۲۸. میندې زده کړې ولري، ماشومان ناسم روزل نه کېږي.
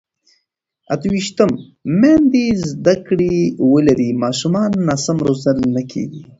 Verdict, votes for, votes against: rejected, 0, 2